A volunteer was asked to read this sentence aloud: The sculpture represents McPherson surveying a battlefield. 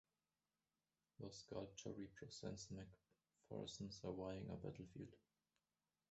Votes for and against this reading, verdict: 1, 2, rejected